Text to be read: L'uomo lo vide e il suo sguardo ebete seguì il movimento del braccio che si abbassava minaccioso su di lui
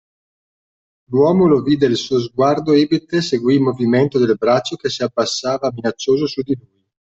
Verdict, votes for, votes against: accepted, 2, 0